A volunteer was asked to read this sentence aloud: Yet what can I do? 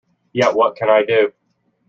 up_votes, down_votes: 2, 0